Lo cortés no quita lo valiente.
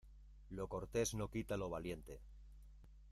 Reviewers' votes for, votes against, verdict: 0, 2, rejected